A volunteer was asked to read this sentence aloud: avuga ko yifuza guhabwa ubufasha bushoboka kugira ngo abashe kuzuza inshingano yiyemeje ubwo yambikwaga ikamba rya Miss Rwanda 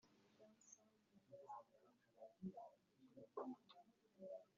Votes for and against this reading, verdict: 0, 2, rejected